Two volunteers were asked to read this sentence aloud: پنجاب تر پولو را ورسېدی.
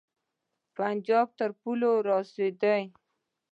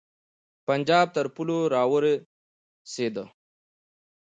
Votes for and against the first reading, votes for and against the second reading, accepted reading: 0, 2, 2, 0, second